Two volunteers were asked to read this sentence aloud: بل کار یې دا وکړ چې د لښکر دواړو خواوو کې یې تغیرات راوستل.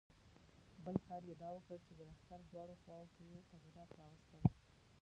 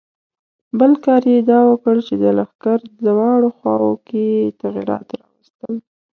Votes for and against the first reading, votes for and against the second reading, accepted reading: 1, 2, 2, 0, second